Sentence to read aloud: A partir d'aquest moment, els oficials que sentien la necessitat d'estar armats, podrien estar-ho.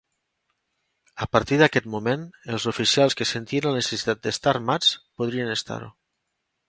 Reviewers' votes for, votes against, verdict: 3, 0, accepted